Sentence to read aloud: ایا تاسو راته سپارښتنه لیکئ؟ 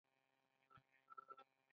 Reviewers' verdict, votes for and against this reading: accepted, 2, 1